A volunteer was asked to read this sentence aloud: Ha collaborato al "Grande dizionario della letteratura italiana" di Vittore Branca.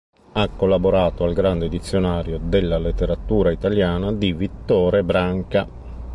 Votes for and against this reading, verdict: 2, 0, accepted